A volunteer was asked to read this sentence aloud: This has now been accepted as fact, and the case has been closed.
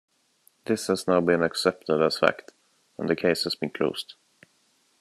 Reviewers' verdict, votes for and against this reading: accepted, 2, 0